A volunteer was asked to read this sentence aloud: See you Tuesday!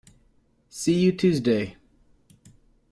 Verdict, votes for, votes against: accepted, 2, 0